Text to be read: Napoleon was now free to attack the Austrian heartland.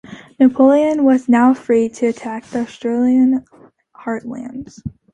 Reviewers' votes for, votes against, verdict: 2, 0, accepted